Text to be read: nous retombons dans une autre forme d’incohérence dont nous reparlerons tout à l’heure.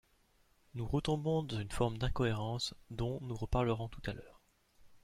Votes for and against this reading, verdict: 0, 2, rejected